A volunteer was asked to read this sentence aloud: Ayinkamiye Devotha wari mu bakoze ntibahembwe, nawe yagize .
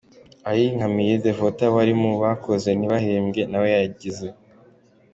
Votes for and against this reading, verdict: 2, 0, accepted